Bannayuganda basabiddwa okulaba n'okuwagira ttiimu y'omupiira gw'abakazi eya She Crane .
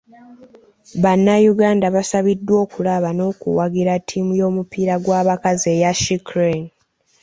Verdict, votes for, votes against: accepted, 3, 0